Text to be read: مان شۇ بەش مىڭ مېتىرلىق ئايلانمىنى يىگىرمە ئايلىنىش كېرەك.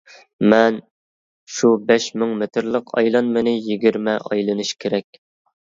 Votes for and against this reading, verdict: 1, 2, rejected